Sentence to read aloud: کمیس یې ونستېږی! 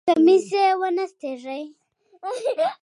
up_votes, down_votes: 1, 3